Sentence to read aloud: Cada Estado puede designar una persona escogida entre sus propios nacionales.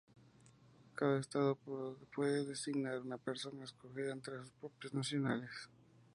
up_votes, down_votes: 2, 0